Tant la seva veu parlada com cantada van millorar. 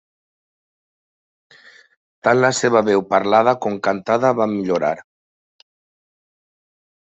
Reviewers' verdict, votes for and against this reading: accepted, 2, 0